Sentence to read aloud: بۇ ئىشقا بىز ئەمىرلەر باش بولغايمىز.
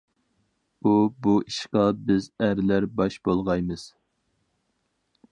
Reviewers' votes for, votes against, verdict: 0, 2, rejected